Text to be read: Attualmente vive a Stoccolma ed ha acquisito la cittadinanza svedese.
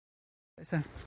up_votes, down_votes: 0, 2